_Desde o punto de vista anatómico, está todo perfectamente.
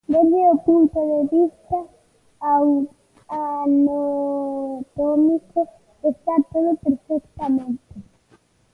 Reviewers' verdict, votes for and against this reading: rejected, 0, 2